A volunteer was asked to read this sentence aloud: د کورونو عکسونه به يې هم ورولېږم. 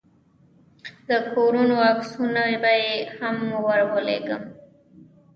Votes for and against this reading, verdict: 0, 2, rejected